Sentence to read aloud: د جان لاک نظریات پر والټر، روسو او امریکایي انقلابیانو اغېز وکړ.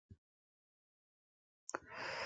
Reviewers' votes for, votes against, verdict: 0, 2, rejected